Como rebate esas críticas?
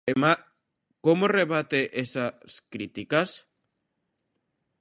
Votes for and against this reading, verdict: 0, 2, rejected